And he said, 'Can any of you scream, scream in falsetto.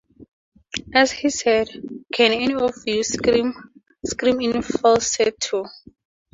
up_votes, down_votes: 2, 0